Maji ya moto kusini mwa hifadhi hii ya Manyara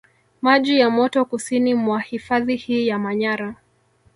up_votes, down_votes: 2, 1